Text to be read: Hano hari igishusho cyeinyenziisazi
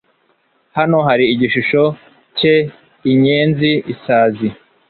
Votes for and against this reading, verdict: 2, 0, accepted